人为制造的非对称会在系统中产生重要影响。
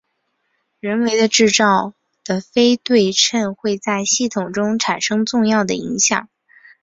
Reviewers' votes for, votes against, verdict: 2, 0, accepted